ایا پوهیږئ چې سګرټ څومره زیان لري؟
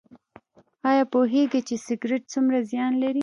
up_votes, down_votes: 2, 0